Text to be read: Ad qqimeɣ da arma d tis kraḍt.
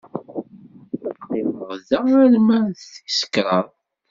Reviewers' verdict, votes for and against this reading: rejected, 0, 2